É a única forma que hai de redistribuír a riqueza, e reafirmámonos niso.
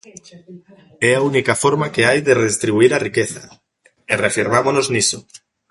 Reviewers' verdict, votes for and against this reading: accepted, 2, 0